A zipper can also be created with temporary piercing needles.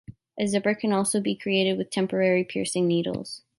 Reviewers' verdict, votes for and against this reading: accepted, 3, 0